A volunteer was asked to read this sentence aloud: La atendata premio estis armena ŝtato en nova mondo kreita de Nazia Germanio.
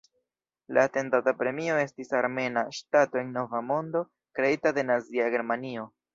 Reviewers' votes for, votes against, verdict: 1, 2, rejected